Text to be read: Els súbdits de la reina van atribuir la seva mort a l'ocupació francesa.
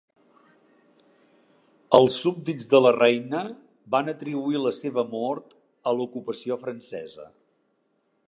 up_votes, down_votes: 3, 0